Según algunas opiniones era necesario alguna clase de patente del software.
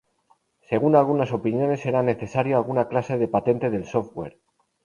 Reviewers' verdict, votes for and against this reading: rejected, 2, 2